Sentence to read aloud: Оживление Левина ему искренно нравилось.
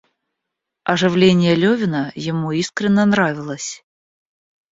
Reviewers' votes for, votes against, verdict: 1, 2, rejected